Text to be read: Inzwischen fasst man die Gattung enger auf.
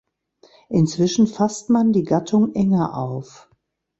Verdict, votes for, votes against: accepted, 2, 0